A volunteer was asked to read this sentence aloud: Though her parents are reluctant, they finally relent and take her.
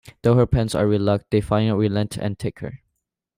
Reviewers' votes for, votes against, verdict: 0, 2, rejected